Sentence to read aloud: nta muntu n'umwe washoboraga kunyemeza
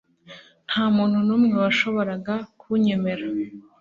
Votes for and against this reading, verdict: 1, 2, rejected